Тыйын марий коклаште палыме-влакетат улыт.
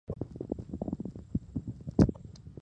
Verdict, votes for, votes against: rejected, 1, 2